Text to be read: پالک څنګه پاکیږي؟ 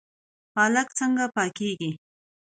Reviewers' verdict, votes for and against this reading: accepted, 2, 0